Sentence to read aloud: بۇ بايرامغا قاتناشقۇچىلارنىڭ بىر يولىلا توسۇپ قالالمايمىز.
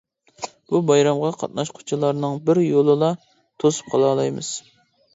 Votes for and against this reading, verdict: 0, 2, rejected